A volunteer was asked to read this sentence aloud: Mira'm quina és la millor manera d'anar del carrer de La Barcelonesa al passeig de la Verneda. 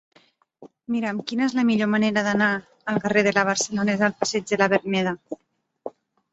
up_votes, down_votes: 4, 2